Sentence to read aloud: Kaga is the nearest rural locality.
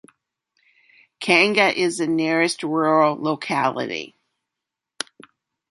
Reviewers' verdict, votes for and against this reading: rejected, 1, 2